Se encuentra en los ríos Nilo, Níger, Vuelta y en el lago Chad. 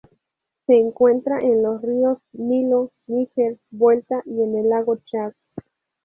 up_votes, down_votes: 2, 0